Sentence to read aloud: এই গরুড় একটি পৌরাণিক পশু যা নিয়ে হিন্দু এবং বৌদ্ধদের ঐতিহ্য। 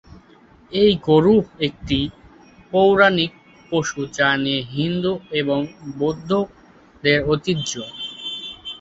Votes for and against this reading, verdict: 1, 2, rejected